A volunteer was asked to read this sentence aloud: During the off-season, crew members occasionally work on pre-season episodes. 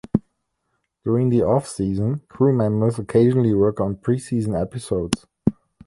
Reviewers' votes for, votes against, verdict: 2, 0, accepted